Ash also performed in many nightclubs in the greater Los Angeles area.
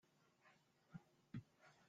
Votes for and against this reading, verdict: 0, 2, rejected